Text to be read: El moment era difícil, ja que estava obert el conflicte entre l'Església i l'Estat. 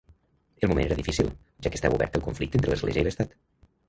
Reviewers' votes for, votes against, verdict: 0, 2, rejected